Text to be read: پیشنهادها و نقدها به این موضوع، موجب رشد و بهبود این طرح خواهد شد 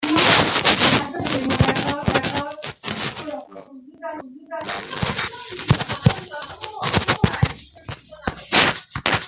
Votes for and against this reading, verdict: 0, 2, rejected